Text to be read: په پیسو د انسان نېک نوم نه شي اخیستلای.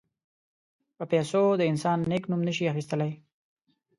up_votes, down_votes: 2, 0